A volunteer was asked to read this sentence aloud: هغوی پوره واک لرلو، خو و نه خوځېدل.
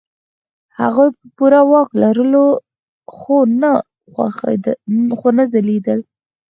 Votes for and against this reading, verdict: 0, 4, rejected